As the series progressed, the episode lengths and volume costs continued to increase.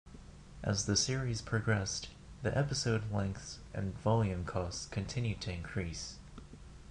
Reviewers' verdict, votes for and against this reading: accepted, 2, 0